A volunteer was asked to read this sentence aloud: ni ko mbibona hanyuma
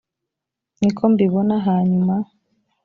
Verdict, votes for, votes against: accepted, 2, 0